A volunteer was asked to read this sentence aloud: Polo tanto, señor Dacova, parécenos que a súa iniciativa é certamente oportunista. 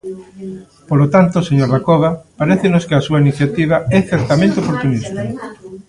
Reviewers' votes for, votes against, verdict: 1, 2, rejected